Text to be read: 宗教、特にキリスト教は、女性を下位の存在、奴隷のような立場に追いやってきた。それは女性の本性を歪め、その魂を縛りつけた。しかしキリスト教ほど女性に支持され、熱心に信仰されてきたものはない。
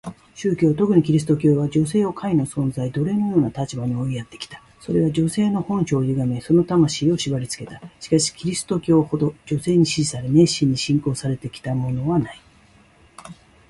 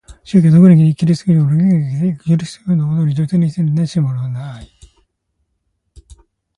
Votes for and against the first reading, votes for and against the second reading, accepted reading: 2, 0, 1, 2, first